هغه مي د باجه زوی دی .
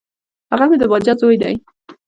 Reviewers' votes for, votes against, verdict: 0, 2, rejected